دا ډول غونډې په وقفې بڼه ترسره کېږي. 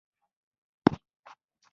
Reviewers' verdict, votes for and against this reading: rejected, 0, 2